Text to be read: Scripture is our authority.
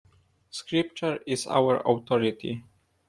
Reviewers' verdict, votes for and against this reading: accepted, 2, 0